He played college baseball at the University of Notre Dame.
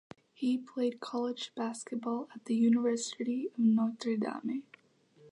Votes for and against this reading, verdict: 0, 2, rejected